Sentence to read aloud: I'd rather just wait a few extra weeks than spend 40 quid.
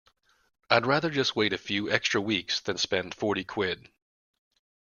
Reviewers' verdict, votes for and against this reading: rejected, 0, 2